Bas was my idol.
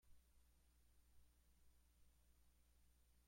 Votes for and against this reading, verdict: 0, 2, rejected